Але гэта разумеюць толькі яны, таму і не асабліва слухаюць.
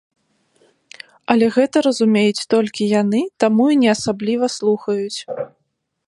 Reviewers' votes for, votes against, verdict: 3, 0, accepted